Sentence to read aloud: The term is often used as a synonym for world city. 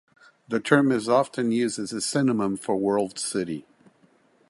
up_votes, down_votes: 1, 2